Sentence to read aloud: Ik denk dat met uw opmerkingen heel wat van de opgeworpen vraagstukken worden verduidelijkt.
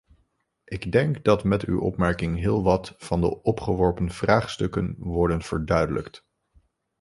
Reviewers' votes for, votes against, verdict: 1, 2, rejected